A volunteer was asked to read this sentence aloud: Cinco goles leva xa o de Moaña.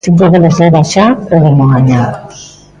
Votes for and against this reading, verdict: 0, 2, rejected